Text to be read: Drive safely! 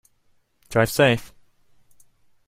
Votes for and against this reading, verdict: 0, 2, rejected